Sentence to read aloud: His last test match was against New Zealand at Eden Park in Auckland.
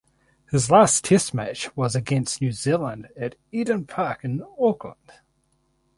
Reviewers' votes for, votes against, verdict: 2, 0, accepted